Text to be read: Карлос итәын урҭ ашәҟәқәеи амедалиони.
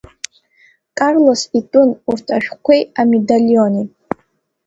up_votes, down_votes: 2, 0